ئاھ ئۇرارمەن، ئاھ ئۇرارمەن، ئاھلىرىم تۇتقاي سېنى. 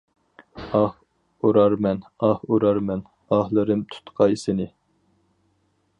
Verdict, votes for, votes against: accepted, 4, 0